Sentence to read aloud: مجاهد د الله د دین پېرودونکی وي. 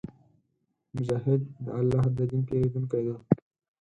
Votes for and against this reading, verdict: 4, 0, accepted